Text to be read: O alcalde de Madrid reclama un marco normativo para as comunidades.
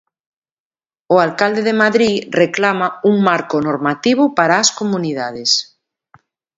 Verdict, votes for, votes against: accepted, 2, 0